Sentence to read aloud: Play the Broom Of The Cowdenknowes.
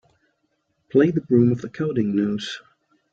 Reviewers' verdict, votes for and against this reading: accepted, 2, 0